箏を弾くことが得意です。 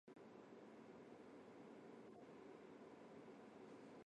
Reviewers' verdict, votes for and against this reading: rejected, 0, 2